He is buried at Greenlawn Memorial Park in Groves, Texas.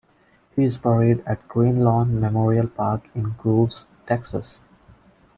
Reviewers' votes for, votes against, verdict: 2, 1, accepted